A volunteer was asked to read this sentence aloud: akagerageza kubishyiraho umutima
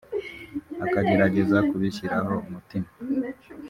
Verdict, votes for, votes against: rejected, 0, 2